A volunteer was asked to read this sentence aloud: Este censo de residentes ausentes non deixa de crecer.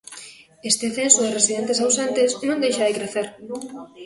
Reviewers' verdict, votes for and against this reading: accepted, 2, 0